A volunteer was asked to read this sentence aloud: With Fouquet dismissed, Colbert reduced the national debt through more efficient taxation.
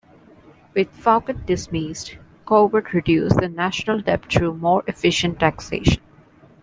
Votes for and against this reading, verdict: 2, 1, accepted